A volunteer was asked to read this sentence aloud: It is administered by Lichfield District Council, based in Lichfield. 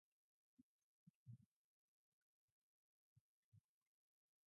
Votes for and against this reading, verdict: 0, 2, rejected